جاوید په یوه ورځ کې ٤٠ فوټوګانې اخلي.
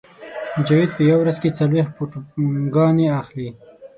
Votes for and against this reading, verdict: 0, 2, rejected